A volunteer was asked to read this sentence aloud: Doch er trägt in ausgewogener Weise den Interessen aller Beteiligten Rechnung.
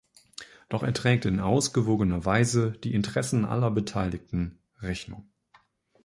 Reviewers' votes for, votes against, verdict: 0, 2, rejected